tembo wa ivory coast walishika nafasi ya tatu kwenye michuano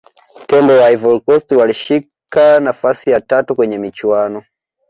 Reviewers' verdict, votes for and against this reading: accepted, 2, 0